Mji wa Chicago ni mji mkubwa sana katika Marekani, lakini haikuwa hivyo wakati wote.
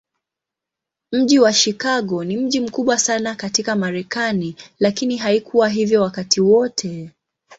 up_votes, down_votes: 2, 0